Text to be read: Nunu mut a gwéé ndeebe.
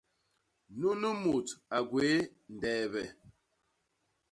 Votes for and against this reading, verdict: 2, 0, accepted